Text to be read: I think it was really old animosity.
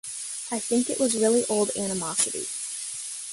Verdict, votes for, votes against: accepted, 2, 1